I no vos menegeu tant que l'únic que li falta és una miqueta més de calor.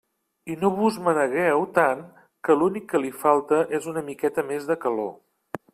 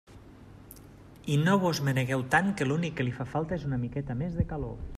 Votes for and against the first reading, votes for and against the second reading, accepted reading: 2, 1, 0, 2, first